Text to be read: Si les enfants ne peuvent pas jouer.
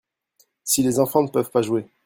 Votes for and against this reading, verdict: 2, 0, accepted